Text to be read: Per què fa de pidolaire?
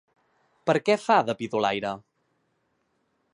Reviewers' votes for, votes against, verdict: 2, 0, accepted